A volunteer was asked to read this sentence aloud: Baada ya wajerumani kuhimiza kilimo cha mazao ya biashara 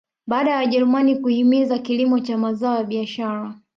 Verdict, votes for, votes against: accepted, 2, 1